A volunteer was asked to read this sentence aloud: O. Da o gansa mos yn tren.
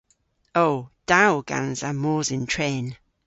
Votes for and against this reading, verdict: 2, 0, accepted